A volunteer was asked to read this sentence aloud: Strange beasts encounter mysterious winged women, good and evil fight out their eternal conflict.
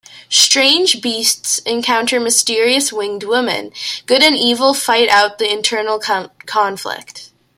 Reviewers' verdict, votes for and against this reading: rejected, 0, 2